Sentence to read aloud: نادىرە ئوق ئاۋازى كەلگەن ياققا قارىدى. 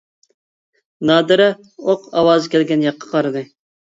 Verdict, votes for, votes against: accepted, 2, 0